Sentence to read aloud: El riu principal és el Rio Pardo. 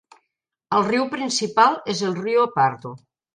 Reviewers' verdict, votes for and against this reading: accepted, 2, 0